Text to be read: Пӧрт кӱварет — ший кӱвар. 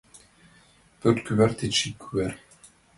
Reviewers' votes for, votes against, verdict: 0, 2, rejected